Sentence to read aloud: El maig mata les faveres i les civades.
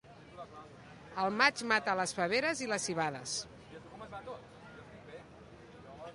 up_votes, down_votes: 2, 0